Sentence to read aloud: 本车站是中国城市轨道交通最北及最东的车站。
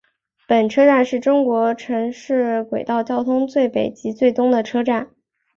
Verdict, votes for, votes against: accepted, 4, 0